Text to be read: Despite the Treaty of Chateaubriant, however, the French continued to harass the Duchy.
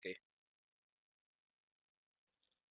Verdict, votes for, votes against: rejected, 0, 2